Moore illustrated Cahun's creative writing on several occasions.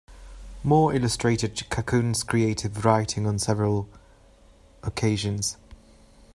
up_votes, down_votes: 2, 1